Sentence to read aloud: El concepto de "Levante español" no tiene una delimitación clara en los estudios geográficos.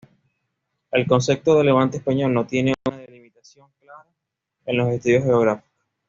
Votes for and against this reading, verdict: 1, 2, rejected